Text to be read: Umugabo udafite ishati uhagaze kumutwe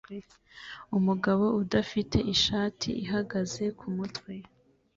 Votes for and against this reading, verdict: 1, 2, rejected